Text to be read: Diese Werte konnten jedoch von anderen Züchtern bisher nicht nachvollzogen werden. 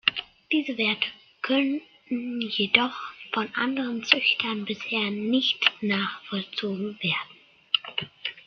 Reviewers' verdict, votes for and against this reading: rejected, 0, 2